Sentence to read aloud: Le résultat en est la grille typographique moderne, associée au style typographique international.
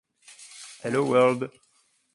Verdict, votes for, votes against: rejected, 0, 2